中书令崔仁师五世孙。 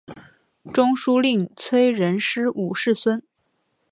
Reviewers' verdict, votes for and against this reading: accepted, 3, 0